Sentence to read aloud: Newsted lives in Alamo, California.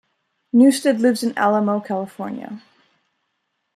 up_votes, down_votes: 2, 0